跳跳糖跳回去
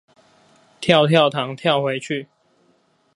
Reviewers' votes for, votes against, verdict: 4, 0, accepted